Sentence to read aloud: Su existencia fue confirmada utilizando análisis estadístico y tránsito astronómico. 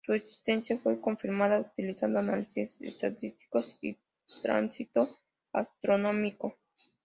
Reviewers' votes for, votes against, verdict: 2, 0, accepted